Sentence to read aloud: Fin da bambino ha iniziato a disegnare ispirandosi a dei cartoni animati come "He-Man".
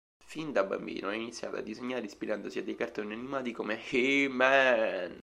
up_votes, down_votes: 1, 2